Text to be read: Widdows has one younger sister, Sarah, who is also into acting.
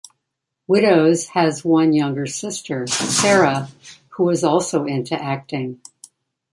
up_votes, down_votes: 0, 2